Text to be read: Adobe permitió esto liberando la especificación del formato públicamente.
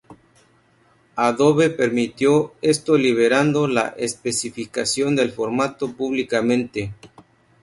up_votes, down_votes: 2, 0